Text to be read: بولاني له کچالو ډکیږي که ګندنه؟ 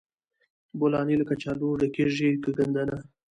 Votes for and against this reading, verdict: 2, 0, accepted